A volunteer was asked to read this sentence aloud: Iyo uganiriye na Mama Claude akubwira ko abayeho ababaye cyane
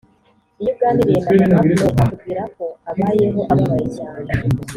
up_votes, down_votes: 1, 2